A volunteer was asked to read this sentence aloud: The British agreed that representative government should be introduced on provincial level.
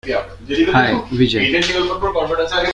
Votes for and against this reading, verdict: 0, 2, rejected